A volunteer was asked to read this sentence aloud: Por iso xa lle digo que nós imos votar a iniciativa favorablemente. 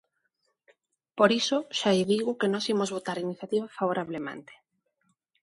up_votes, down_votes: 2, 0